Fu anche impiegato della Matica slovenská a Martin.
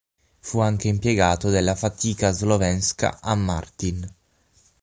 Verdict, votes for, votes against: rejected, 3, 6